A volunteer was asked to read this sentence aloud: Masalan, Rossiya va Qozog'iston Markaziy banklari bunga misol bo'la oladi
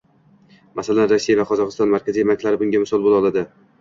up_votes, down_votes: 1, 2